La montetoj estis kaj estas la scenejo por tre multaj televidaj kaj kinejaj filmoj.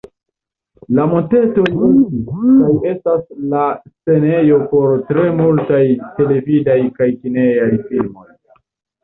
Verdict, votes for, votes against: rejected, 1, 2